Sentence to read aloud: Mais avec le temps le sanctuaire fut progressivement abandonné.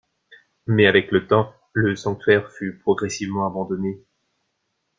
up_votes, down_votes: 2, 0